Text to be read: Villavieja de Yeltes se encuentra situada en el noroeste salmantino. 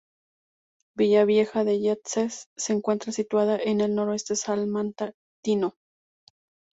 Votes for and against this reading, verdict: 0, 2, rejected